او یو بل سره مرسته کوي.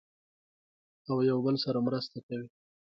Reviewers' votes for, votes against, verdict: 0, 2, rejected